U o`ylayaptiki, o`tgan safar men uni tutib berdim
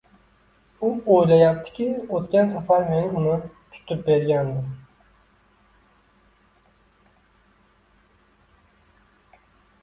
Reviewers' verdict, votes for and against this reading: rejected, 0, 2